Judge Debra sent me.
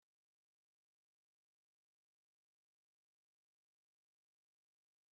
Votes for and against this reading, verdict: 0, 2, rejected